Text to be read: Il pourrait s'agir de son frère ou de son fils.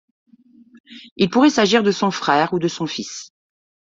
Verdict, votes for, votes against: accepted, 2, 0